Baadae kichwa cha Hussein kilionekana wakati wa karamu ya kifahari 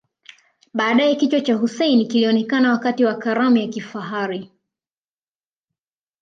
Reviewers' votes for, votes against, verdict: 2, 0, accepted